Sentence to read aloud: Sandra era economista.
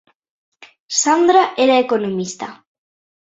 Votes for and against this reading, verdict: 2, 0, accepted